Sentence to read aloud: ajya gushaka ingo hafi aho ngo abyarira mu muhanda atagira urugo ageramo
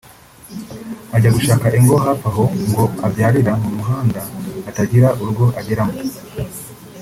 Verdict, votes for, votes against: rejected, 1, 2